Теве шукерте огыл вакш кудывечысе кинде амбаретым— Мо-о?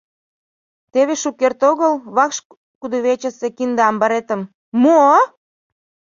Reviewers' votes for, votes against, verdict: 0, 2, rejected